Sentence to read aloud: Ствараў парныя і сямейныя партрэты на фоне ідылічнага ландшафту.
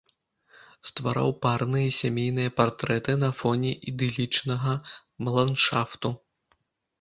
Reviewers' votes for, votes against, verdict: 1, 2, rejected